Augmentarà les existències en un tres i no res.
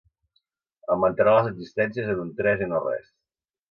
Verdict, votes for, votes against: accepted, 5, 1